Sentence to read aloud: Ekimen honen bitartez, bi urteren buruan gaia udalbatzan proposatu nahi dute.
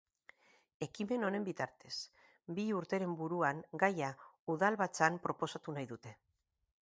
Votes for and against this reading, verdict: 2, 2, rejected